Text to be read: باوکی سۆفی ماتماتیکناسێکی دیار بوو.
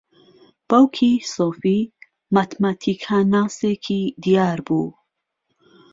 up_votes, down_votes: 0, 2